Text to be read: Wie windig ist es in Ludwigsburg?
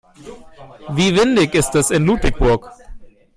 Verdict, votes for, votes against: rejected, 0, 2